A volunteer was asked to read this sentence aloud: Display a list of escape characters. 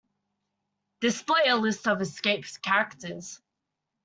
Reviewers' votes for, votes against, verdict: 0, 2, rejected